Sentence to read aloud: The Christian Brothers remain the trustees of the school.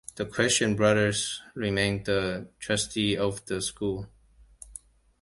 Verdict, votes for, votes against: rejected, 1, 2